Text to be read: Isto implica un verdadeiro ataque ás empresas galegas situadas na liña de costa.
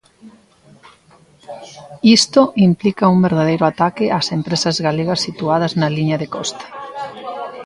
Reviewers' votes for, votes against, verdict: 2, 0, accepted